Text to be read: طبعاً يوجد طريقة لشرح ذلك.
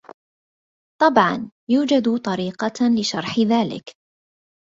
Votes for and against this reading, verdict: 0, 2, rejected